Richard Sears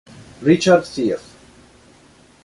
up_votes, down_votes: 2, 0